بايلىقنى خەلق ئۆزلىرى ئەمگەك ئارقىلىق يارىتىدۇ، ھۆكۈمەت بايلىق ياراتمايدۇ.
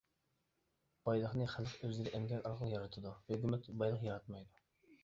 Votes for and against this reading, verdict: 0, 2, rejected